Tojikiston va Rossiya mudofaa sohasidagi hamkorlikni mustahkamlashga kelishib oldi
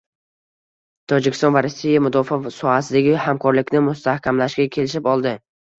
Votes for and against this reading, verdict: 1, 2, rejected